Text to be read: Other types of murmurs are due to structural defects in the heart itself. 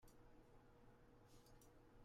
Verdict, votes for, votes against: rejected, 0, 2